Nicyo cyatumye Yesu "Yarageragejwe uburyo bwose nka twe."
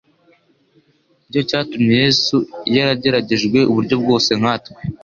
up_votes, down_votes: 2, 0